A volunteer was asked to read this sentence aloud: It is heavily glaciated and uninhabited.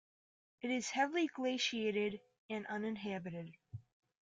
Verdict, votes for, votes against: accepted, 2, 0